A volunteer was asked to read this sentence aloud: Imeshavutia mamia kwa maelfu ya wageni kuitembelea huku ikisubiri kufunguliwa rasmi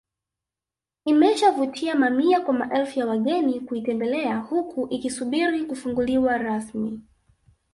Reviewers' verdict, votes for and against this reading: accepted, 2, 1